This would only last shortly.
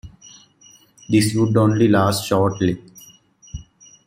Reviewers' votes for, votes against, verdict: 2, 0, accepted